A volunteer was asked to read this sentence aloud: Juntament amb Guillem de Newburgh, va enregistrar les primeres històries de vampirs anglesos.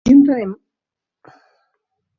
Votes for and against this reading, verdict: 0, 2, rejected